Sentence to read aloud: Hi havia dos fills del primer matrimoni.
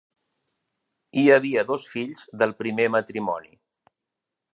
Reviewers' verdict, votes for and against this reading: accepted, 4, 0